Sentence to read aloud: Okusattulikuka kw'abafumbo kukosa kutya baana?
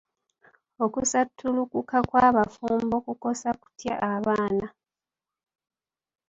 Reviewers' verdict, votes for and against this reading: accepted, 3, 1